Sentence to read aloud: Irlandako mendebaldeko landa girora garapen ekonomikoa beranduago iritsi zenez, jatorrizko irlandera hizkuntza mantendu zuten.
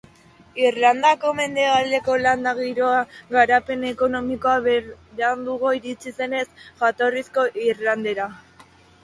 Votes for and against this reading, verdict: 0, 2, rejected